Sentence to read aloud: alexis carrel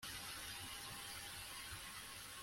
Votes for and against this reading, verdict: 0, 2, rejected